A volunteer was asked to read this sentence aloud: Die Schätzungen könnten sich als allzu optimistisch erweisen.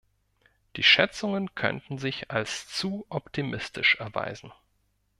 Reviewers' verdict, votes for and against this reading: rejected, 0, 2